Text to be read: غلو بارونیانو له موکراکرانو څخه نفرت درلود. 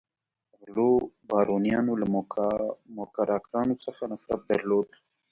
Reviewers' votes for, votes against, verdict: 2, 0, accepted